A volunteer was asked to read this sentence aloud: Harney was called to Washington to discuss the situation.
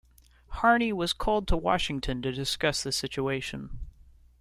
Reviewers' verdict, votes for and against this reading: accepted, 2, 1